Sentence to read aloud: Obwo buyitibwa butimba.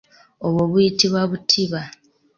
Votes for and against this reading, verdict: 2, 0, accepted